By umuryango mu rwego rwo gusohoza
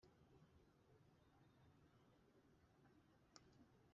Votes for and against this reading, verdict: 0, 2, rejected